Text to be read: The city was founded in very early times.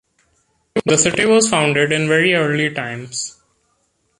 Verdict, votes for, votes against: accepted, 2, 0